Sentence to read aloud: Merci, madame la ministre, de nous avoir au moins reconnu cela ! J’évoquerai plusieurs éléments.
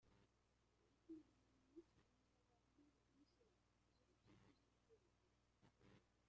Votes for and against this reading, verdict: 0, 2, rejected